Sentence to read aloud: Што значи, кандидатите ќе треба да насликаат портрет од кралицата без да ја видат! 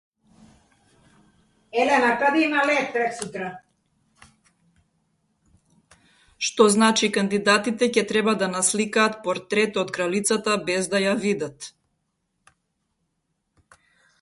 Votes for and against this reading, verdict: 0, 2, rejected